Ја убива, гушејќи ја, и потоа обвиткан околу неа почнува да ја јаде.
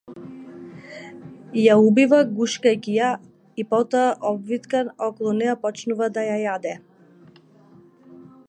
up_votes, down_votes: 0, 2